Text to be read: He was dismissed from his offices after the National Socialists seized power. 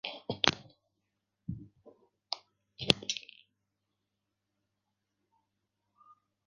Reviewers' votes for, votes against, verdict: 0, 2, rejected